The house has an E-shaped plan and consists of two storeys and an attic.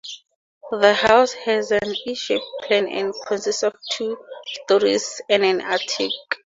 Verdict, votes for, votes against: accepted, 2, 0